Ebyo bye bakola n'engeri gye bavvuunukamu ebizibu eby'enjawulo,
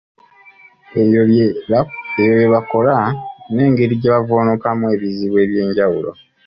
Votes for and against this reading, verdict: 2, 1, accepted